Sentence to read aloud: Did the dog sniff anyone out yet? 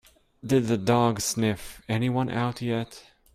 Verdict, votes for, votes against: rejected, 1, 2